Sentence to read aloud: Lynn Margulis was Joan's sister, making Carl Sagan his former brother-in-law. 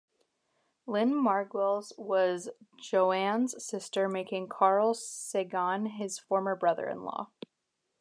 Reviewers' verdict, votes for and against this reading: rejected, 0, 2